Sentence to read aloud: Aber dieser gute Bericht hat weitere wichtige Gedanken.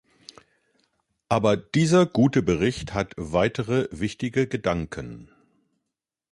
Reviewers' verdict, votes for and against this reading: accepted, 2, 0